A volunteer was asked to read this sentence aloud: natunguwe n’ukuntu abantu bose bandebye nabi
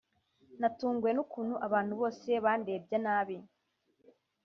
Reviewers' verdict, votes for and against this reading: accepted, 2, 0